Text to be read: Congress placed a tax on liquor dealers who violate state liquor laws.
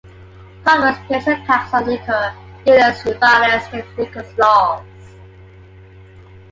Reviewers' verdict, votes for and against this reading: rejected, 0, 2